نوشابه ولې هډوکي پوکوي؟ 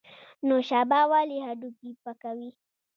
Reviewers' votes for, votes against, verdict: 0, 2, rejected